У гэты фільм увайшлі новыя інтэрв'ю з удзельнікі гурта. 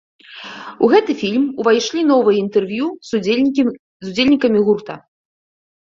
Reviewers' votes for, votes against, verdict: 0, 2, rejected